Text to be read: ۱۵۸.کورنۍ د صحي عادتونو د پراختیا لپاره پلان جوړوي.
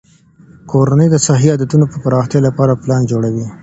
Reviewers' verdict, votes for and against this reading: rejected, 0, 2